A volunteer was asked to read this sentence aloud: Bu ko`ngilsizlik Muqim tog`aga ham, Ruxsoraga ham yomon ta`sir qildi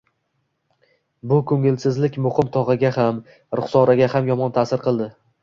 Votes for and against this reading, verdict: 2, 0, accepted